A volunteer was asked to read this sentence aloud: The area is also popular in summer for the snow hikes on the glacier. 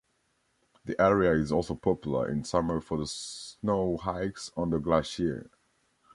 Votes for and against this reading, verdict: 1, 2, rejected